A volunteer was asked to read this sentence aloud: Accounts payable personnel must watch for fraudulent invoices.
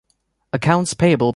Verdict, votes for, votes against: rejected, 0, 2